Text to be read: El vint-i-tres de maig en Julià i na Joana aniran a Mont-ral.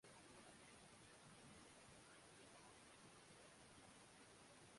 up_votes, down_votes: 0, 2